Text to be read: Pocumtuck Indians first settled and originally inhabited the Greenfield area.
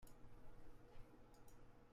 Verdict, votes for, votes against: rejected, 0, 2